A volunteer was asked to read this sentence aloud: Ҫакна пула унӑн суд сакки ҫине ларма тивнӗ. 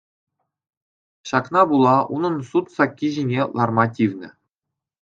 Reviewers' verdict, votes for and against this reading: accepted, 2, 0